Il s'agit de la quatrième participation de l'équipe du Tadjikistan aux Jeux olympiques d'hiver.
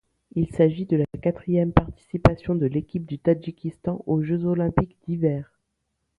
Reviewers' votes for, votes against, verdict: 2, 0, accepted